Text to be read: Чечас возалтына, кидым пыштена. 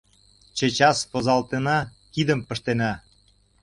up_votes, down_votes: 2, 0